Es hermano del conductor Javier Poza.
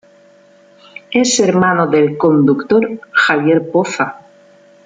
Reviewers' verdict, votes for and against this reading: accepted, 2, 0